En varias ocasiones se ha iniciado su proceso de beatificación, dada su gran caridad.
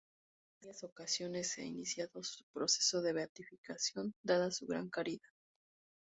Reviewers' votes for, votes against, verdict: 0, 4, rejected